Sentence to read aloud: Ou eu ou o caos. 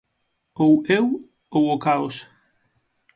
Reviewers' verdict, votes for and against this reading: accepted, 6, 0